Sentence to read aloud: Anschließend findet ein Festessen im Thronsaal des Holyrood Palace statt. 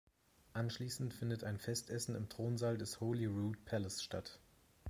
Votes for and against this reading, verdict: 2, 0, accepted